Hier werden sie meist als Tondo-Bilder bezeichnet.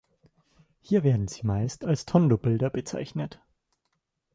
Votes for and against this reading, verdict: 2, 0, accepted